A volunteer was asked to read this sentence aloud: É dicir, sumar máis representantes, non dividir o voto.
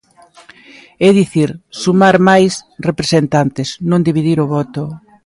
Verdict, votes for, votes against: accepted, 2, 1